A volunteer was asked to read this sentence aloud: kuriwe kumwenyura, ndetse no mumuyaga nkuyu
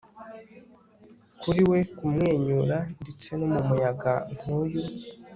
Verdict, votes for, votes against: accepted, 4, 0